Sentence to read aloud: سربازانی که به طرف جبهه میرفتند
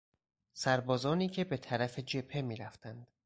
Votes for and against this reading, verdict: 4, 0, accepted